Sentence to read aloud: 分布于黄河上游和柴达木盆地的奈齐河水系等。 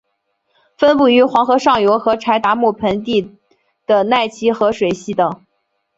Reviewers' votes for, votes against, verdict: 4, 0, accepted